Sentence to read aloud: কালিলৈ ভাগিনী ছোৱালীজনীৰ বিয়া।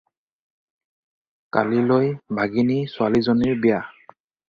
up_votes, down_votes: 4, 0